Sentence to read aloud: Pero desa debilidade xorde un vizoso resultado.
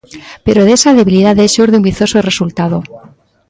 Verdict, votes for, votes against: rejected, 1, 2